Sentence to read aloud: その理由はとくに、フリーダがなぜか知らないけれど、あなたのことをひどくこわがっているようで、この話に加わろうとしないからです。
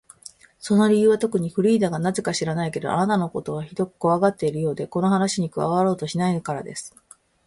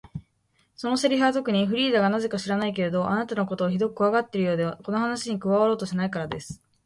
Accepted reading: first